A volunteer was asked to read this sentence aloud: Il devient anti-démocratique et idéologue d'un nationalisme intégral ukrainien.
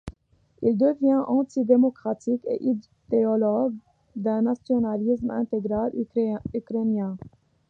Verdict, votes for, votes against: accepted, 2, 1